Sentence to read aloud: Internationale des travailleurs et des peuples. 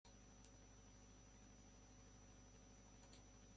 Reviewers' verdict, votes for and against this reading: rejected, 0, 2